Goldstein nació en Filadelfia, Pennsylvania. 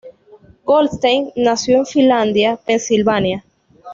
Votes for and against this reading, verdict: 1, 2, rejected